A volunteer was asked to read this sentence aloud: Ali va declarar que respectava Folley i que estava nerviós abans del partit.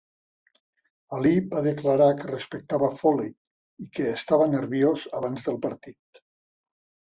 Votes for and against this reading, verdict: 2, 0, accepted